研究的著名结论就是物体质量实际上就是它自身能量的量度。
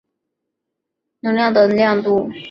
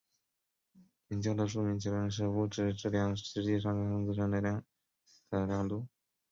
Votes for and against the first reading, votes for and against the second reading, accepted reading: 0, 2, 2, 0, second